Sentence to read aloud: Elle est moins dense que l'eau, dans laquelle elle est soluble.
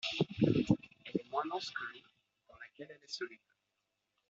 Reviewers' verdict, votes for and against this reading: rejected, 0, 2